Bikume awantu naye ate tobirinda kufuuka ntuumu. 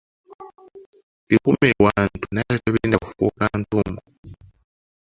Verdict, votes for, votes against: rejected, 0, 2